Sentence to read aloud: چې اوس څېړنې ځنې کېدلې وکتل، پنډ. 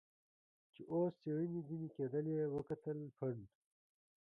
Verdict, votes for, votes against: rejected, 1, 2